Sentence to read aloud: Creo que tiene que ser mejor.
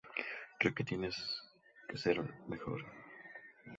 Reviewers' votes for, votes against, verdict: 2, 0, accepted